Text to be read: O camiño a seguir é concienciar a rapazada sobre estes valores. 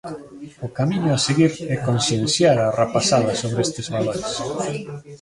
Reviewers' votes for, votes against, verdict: 2, 0, accepted